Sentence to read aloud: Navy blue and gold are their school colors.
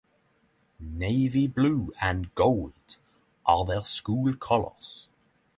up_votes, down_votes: 3, 0